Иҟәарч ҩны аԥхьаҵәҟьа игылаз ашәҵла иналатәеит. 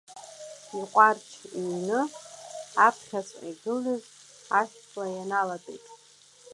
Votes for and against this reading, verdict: 0, 2, rejected